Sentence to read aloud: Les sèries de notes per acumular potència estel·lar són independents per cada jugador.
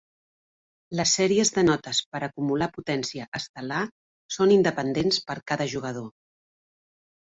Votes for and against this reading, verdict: 3, 0, accepted